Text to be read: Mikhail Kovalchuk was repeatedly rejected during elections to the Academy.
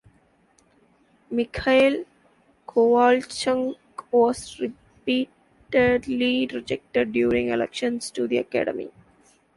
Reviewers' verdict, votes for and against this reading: rejected, 1, 2